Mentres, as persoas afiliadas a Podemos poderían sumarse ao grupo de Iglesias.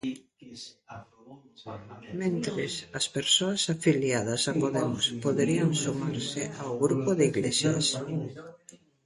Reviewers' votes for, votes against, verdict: 1, 2, rejected